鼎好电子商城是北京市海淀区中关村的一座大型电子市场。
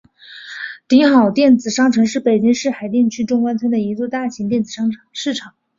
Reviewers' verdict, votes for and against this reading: rejected, 0, 2